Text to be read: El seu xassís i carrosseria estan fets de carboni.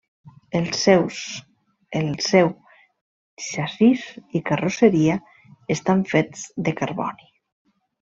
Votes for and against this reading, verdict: 0, 2, rejected